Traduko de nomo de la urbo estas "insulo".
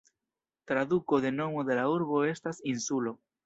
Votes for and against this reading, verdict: 2, 1, accepted